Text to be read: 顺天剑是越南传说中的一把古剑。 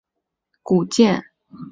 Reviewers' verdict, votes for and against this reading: rejected, 0, 2